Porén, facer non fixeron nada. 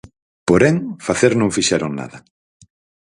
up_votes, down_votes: 4, 0